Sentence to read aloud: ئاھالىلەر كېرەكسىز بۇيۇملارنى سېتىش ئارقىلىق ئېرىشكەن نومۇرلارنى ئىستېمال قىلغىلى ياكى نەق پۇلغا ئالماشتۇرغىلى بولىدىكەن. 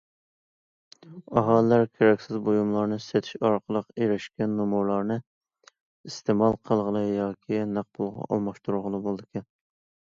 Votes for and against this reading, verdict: 2, 0, accepted